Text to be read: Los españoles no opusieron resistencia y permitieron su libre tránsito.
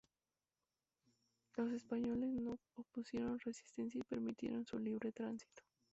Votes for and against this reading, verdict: 0, 2, rejected